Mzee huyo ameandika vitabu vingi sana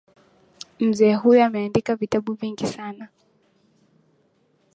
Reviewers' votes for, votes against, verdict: 2, 0, accepted